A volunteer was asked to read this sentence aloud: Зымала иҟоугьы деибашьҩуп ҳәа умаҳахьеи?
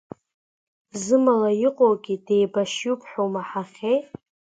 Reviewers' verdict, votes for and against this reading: accepted, 2, 1